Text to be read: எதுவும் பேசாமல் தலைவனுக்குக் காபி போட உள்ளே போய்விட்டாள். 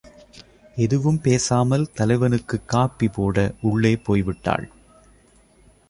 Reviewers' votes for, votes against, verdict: 2, 0, accepted